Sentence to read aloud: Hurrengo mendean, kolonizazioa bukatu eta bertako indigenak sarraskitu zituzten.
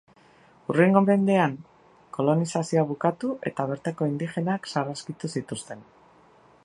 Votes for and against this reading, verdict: 2, 0, accepted